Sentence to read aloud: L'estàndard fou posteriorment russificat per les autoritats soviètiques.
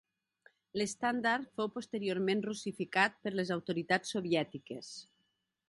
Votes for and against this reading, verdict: 3, 0, accepted